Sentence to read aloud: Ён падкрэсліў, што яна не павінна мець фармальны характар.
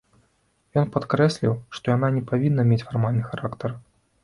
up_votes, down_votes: 2, 0